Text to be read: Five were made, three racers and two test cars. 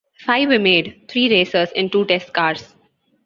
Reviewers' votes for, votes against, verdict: 2, 0, accepted